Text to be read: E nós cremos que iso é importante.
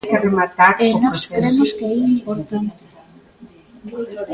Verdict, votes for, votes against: rejected, 0, 2